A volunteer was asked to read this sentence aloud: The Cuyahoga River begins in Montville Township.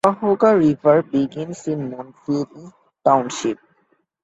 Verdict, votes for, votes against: rejected, 1, 2